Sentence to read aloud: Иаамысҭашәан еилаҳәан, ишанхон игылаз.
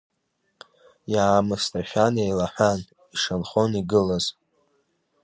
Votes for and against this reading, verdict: 2, 0, accepted